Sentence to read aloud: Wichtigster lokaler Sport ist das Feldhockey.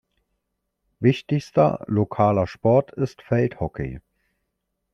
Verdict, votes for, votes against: rejected, 0, 2